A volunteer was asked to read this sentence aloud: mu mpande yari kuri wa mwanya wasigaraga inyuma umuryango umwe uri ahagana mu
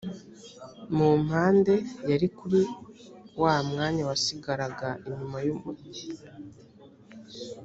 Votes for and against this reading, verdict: 0, 2, rejected